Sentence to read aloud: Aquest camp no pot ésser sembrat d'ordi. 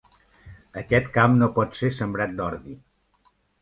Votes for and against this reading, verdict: 1, 2, rejected